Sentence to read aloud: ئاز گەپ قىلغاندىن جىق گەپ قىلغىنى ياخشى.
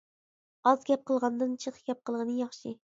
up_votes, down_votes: 2, 0